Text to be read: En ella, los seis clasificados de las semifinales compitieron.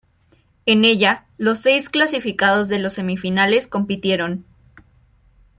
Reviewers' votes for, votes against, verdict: 1, 2, rejected